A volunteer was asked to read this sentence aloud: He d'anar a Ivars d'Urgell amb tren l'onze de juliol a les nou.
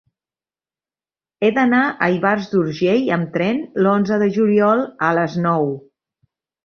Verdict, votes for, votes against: accepted, 3, 0